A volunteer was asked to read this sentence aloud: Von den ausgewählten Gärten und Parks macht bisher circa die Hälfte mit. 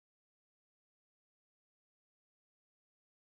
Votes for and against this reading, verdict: 0, 2, rejected